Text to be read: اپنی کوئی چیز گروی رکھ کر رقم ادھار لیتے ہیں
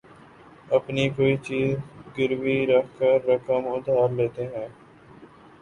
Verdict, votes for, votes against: accepted, 2, 0